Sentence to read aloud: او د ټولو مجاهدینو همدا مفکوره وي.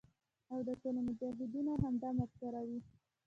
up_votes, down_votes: 1, 2